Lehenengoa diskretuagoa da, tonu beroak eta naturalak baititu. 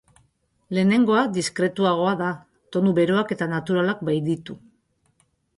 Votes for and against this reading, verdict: 2, 2, rejected